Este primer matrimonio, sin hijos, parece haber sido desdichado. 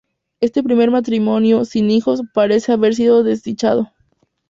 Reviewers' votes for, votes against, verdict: 2, 0, accepted